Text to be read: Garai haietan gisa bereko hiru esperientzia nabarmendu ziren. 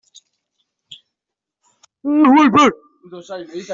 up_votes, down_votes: 0, 2